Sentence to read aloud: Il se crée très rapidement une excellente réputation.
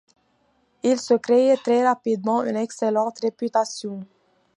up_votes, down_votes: 2, 1